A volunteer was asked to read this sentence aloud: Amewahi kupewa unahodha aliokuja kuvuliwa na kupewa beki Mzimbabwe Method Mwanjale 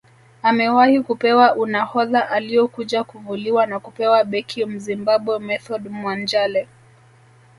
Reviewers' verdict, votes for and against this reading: accepted, 2, 0